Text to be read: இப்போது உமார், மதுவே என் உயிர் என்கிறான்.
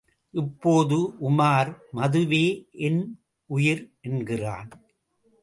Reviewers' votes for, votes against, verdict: 2, 0, accepted